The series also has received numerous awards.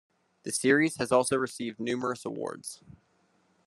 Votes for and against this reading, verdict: 2, 0, accepted